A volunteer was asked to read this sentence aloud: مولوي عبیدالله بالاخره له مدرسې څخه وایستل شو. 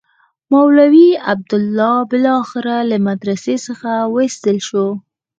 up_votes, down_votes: 4, 0